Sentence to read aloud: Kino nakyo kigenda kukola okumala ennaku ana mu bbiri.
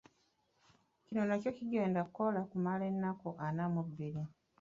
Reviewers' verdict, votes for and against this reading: accepted, 2, 1